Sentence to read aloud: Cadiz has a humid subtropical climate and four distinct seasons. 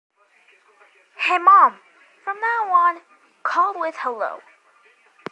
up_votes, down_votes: 0, 2